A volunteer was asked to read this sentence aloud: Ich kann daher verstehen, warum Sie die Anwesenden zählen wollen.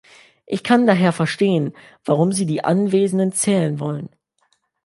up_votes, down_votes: 2, 0